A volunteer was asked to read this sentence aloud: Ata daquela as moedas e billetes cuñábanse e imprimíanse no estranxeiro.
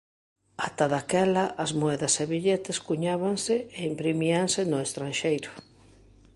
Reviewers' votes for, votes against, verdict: 2, 0, accepted